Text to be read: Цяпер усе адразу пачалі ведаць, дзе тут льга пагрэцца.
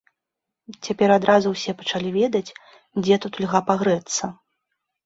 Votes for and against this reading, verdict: 1, 2, rejected